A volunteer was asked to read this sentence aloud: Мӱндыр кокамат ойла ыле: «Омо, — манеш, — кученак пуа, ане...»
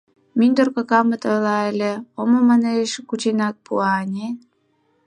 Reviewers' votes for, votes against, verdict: 2, 4, rejected